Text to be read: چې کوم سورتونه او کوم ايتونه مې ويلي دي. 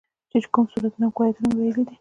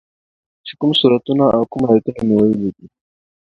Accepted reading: second